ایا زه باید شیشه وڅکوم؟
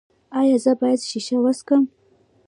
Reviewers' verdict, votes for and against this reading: rejected, 1, 2